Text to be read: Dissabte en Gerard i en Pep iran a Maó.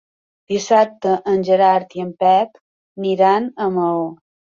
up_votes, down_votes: 3, 1